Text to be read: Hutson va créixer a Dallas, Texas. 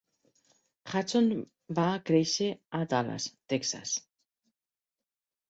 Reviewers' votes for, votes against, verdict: 2, 0, accepted